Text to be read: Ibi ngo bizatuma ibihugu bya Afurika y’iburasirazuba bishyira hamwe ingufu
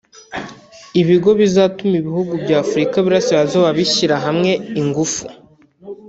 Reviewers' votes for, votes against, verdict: 1, 2, rejected